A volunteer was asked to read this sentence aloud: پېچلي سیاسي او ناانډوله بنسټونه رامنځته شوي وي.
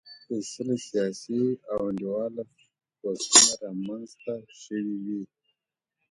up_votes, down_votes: 1, 2